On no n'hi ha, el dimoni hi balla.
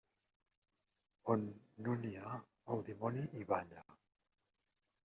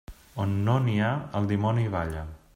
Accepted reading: second